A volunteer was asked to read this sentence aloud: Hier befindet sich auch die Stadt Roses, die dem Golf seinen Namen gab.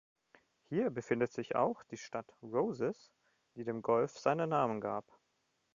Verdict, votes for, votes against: accepted, 2, 0